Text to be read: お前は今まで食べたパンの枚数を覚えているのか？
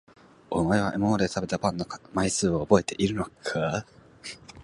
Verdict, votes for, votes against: accepted, 3, 1